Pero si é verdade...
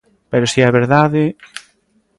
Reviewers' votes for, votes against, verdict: 2, 0, accepted